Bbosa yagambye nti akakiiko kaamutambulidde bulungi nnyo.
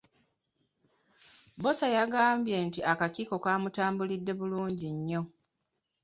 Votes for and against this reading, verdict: 2, 3, rejected